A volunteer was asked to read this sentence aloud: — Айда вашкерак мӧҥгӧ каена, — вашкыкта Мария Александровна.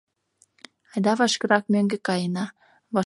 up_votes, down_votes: 0, 2